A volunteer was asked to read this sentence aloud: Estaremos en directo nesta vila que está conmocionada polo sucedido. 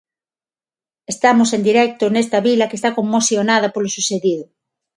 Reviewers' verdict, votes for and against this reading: rejected, 0, 6